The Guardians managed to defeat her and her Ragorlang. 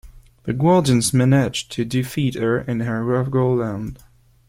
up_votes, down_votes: 1, 2